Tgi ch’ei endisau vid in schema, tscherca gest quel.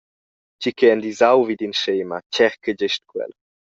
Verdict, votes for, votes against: accepted, 2, 0